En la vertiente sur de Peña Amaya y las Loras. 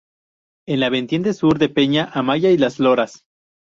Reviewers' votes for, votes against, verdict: 2, 0, accepted